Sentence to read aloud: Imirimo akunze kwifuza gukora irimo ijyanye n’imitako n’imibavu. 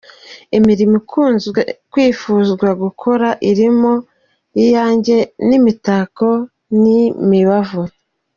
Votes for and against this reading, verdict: 0, 2, rejected